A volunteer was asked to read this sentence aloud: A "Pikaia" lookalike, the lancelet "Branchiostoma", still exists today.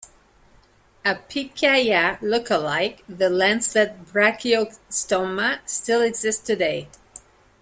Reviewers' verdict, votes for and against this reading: rejected, 1, 2